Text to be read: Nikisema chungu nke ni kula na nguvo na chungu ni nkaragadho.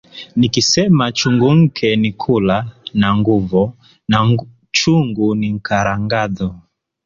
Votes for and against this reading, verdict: 2, 1, accepted